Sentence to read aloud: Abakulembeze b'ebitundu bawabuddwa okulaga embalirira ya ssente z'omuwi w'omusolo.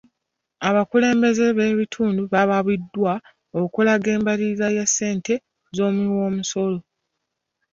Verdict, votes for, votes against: rejected, 0, 2